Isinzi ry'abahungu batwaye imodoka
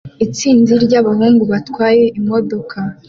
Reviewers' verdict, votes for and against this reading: rejected, 1, 2